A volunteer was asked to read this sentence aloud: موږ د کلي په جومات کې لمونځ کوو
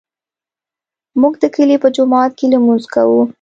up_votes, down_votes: 2, 0